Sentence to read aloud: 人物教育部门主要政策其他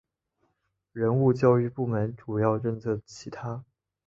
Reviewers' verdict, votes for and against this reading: accepted, 2, 1